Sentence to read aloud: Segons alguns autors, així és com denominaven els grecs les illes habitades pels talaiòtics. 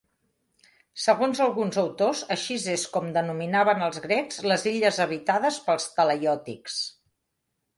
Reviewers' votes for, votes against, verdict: 1, 2, rejected